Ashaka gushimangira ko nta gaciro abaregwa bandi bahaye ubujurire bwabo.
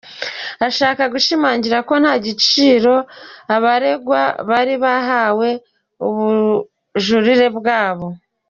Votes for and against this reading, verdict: 2, 0, accepted